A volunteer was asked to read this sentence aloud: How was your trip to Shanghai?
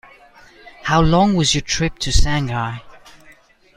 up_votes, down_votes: 0, 2